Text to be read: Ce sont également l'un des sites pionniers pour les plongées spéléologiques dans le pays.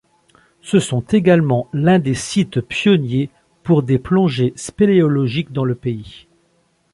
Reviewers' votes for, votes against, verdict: 0, 2, rejected